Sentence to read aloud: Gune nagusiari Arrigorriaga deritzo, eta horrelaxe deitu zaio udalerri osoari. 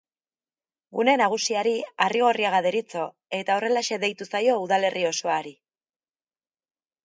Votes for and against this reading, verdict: 1, 2, rejected